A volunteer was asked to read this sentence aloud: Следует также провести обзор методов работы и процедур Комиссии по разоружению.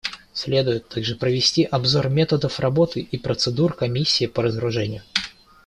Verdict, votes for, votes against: accepted, 2, 0